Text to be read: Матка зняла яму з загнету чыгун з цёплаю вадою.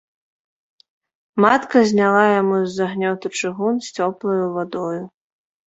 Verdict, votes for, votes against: rejected, 0, 2